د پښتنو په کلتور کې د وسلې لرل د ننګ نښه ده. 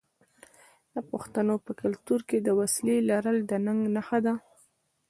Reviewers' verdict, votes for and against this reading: rejected, 1, 2